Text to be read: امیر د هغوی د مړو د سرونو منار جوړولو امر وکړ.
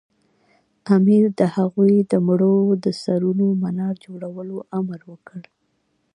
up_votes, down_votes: 2, 0